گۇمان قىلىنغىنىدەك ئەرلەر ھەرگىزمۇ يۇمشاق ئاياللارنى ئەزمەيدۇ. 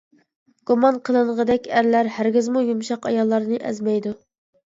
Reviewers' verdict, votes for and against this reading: rejected, 1, 2